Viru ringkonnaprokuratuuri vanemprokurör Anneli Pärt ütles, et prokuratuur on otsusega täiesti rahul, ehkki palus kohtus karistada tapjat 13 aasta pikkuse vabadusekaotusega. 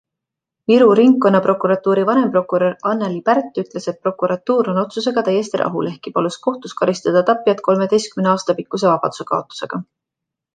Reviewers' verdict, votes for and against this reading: rejected, 0, 2